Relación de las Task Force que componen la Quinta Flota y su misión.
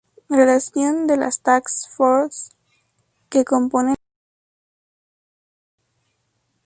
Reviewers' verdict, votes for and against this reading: rejected, 0, 2